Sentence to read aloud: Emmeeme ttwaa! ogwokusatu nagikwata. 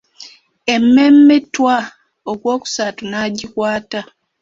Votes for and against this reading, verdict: 0, 2, rejected